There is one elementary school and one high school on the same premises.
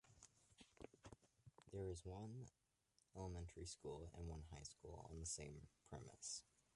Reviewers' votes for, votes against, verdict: 0, 2, rejected